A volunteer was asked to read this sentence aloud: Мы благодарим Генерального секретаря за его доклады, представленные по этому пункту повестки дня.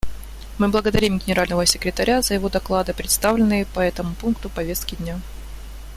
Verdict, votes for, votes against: accepted, 2, 0